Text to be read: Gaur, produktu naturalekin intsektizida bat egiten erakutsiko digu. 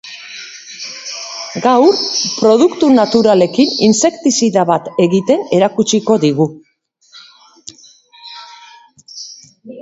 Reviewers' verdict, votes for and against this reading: rejected, 1, 2